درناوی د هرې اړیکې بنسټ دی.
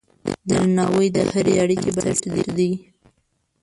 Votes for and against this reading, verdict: 1, 2, rejected